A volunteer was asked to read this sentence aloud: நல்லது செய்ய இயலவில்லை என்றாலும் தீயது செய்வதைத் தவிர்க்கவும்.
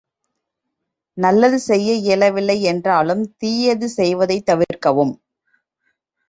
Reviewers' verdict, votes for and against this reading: accepted, 3, 1